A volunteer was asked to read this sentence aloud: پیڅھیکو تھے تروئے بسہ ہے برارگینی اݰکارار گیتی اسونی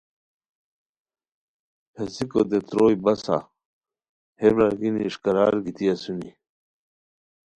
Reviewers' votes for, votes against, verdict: 2, 0, accepted